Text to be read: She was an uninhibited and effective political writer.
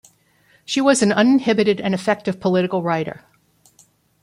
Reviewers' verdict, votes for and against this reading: accepted, 2, 0